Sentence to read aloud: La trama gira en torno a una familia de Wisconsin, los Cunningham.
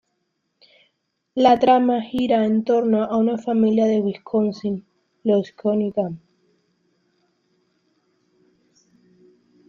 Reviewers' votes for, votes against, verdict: 2, 0, accepted